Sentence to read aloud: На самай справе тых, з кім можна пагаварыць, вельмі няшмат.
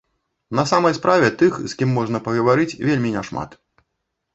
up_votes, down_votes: 2, 0